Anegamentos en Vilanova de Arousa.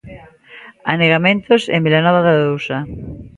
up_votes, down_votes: 2, 0